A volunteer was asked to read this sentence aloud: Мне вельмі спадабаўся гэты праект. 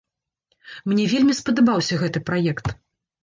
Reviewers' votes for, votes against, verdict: 3, 0, accepted